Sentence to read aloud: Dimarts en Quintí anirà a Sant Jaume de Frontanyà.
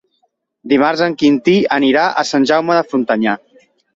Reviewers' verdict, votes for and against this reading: accepted, 2, 0